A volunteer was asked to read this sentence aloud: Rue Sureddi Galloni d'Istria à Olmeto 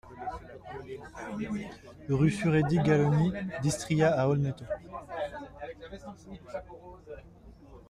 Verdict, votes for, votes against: accepted, 2, 0